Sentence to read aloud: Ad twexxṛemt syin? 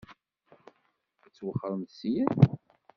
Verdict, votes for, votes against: rejected, 0, 2